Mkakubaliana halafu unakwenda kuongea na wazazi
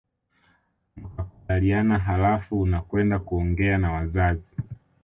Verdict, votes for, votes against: accepted, 2, 1